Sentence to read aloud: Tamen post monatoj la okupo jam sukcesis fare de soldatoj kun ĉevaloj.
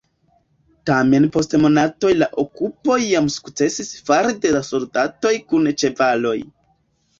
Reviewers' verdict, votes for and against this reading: accepted, 2, 0